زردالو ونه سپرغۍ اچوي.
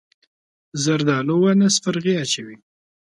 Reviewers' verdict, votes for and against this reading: accepted, 2, 0